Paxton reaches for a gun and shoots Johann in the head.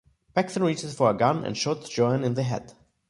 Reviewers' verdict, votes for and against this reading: rejected, 0, 2